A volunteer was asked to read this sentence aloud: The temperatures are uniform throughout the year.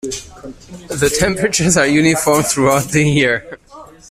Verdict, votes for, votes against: rejected, 1, 2